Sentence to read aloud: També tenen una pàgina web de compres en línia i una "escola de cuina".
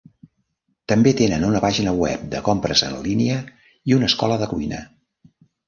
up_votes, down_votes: 2, 0